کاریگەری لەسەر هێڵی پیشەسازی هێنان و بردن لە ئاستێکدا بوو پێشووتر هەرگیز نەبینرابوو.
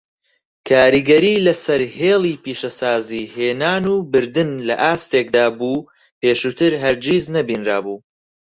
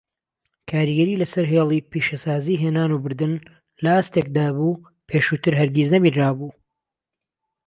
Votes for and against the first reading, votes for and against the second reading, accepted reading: 2, 4, 2, 0, second